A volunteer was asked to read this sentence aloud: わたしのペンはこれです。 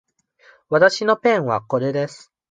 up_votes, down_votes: 2, 0